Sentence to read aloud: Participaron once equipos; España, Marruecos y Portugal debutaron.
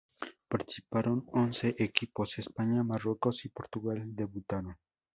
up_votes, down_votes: 0, 2